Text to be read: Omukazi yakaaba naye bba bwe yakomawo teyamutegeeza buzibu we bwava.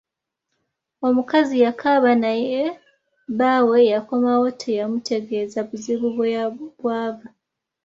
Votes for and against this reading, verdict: 0, 2, rejected